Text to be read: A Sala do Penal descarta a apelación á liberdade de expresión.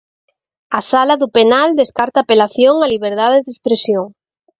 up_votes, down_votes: 2, 0